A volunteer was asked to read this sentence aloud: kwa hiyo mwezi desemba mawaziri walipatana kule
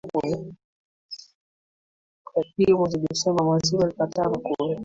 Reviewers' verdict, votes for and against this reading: rejected, 0, 2